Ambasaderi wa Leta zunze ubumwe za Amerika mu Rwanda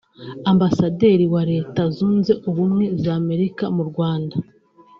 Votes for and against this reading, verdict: 2, 1, accepted